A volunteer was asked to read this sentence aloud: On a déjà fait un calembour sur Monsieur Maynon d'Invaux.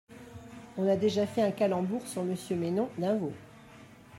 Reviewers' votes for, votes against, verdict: 0, 2, rejected